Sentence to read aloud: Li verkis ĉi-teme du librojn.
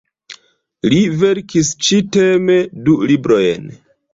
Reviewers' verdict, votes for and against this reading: rejected, 1, 2